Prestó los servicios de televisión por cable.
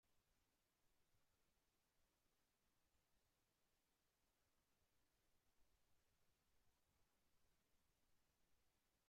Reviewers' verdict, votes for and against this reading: rejected, 0, 2